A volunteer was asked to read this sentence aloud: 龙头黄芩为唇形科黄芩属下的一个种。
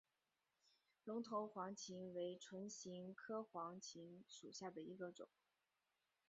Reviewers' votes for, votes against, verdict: 2, 0, accepted